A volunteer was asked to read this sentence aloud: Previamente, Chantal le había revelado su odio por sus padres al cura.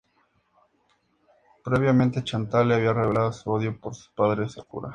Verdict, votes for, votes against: accepted, 2, 0